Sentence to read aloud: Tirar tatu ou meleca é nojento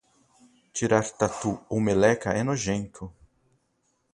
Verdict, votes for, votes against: rejected, 2, 2